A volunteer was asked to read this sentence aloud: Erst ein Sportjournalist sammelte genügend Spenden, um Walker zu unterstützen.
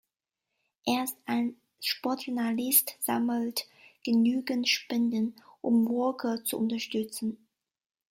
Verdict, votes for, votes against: accepted, 2, 1